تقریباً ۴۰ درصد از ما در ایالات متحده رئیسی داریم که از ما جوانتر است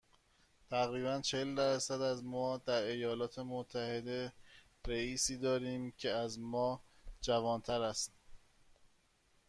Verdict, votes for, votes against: rejected, 0, 2